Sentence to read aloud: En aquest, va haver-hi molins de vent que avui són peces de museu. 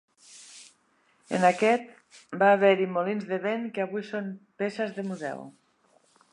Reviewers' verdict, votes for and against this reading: accepted, 2, 0